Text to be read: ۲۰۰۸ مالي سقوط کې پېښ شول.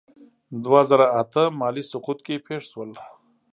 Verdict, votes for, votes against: rejected, 0, 2